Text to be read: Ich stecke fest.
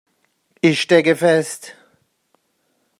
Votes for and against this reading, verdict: 2, 0, accepted